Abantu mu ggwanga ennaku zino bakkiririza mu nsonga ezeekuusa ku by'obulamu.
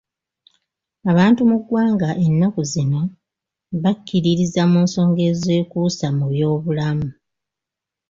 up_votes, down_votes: 3, 1